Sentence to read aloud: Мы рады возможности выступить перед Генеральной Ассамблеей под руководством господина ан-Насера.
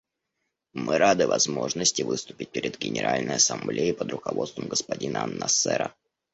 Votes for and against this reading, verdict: 2, 0, accepted